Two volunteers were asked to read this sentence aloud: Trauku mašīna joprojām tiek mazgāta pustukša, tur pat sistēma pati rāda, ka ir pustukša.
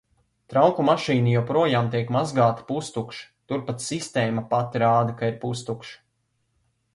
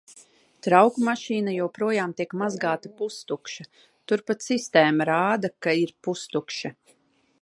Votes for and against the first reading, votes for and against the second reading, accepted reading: 2, 0, 0, 2, first